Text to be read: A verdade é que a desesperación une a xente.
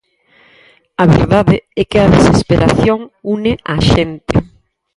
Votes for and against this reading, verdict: 0, 4, rejected